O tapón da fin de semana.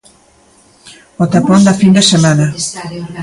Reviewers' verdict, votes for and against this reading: rejected, 0, 2